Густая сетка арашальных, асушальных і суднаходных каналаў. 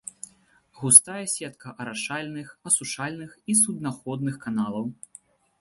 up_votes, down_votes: 2, 0